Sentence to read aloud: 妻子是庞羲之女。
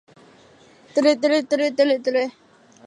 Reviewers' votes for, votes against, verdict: 0, 2, rejected